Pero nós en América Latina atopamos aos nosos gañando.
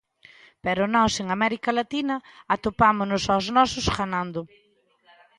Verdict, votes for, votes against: rejected, 0, 2